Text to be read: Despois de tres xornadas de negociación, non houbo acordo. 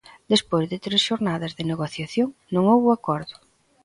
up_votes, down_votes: 2, 1